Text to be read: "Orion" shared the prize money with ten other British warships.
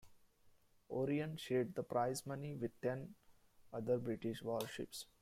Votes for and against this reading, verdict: 0, 2, rejected